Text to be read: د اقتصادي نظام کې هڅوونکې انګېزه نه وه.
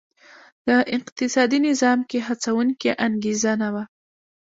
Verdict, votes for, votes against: rejected, 1, 2